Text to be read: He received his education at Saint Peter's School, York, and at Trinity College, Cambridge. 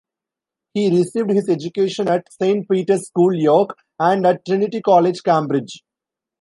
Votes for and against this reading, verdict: 1, 2, rejected